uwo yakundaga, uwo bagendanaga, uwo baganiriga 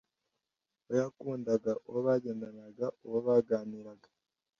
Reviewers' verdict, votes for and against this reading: rejected, 1, 2